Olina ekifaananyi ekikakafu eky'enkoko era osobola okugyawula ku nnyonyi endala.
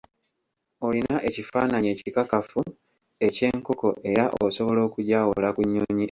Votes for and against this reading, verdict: 0, 2, rejected